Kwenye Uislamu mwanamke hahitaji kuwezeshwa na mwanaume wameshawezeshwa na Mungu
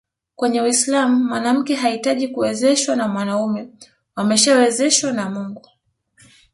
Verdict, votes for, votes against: rejected, 1, 2